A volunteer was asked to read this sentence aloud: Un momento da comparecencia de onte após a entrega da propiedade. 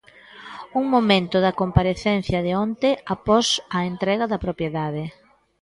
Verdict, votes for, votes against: accepted, 2, 0